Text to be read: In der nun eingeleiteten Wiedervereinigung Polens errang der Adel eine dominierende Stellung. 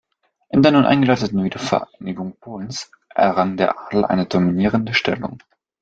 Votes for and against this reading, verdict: 2, 0, accepted